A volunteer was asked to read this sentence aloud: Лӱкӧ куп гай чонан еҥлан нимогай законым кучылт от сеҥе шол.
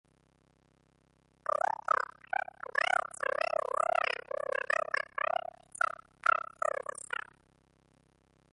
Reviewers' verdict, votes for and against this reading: rejected, 0, 2